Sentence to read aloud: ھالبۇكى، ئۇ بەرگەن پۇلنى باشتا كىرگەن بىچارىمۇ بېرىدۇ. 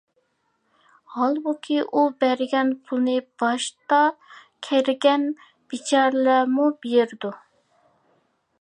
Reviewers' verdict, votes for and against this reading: rejected, 0, 2